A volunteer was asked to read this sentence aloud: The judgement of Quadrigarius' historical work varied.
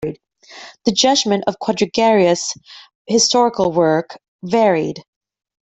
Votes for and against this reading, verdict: 0, 2, rejected